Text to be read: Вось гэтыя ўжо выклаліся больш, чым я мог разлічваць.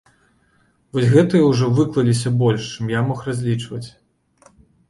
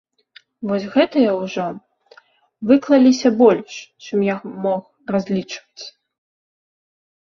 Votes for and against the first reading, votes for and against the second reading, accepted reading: 2, 0, 0, 2, first